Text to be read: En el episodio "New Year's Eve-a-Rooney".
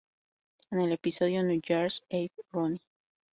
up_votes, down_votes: 2, 0